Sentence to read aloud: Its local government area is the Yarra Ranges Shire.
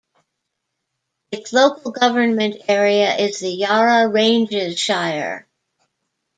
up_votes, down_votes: 0, 2